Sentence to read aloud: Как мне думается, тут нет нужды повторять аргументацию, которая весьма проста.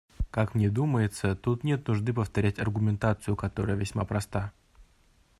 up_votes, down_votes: 2, 0